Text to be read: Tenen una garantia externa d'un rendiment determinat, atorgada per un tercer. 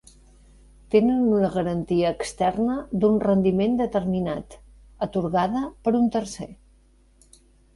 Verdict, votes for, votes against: accepted, 2, 1